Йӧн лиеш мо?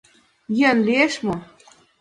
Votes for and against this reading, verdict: 2, 0, accepted